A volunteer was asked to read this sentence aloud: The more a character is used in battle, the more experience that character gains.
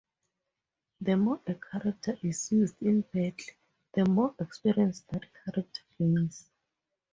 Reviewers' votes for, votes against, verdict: 0, 2, rejected